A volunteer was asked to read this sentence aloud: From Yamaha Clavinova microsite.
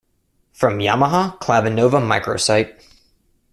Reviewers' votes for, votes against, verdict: 2, 0, accepted